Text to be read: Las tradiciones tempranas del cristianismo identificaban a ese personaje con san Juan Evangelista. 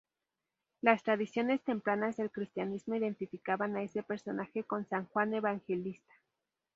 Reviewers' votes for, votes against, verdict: 4, 0, accepted